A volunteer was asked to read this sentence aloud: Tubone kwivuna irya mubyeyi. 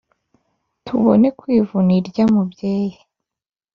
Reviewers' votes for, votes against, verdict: 3, 0, accepted